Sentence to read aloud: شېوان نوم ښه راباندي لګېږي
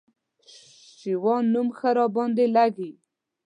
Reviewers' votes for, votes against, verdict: 0, 2, rejected